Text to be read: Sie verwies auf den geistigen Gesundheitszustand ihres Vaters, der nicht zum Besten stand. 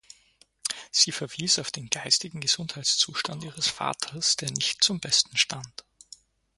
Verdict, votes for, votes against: accepted, 4, 0